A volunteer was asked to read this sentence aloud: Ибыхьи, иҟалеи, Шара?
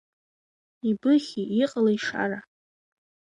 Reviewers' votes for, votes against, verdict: 2, 1, accepted